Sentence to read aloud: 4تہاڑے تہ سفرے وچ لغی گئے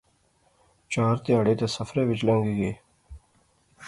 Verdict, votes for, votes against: rejected, 0, 2